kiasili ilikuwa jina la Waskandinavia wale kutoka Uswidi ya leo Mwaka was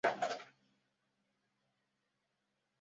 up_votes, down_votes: 0, 2